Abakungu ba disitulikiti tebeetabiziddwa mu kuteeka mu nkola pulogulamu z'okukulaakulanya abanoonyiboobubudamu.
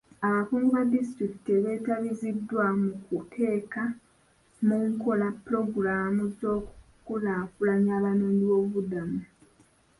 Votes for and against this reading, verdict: 1, 2, rejected